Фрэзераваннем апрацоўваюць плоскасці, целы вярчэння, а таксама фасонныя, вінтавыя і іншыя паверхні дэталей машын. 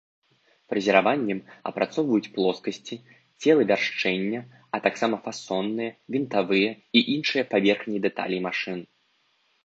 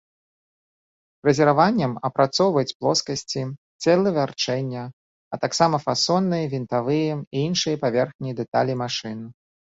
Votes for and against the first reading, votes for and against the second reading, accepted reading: 1, 2, 2, 0, second